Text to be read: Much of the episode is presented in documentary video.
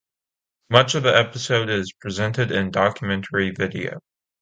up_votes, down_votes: 2, 0